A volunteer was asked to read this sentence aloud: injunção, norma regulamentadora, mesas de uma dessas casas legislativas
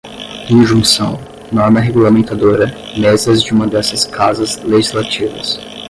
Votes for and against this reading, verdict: 5, 5, rejected